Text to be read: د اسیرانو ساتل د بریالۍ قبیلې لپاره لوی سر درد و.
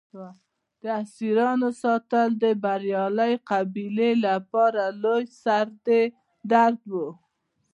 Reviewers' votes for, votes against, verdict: 2, 0, accepted